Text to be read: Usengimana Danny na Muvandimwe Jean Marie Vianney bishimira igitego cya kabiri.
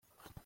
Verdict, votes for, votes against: rejected, 0, 2